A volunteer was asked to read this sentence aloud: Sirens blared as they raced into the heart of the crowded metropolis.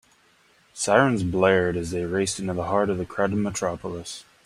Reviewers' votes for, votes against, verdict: 2, 0, accepted